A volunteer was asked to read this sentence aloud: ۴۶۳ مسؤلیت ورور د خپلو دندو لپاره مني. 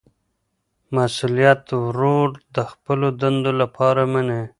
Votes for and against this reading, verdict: 0, 2, rejected